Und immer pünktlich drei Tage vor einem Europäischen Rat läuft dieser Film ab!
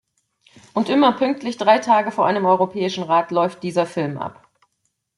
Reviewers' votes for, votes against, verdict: 2, 0, accepted